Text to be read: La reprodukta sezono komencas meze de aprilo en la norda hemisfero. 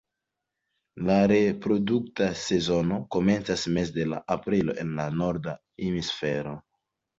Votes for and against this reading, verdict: 1, 2, rejected